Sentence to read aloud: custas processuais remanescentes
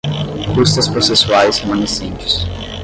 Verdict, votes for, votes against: rejected, 0, 10